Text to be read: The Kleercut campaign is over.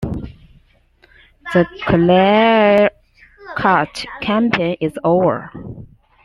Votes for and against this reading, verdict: 3, 2, accepted